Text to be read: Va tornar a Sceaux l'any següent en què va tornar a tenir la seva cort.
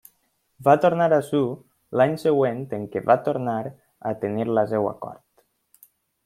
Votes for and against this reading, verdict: 1, 2, rejected